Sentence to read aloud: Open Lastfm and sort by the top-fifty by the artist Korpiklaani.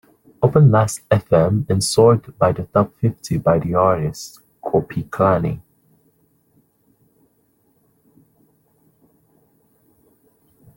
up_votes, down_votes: 0, 3